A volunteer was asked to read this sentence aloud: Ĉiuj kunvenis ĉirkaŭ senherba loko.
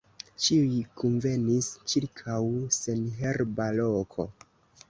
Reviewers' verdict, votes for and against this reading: rejected, 1, 2